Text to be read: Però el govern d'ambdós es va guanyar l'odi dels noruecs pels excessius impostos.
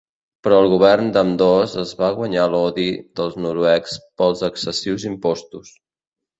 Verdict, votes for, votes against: accepted, 2, 0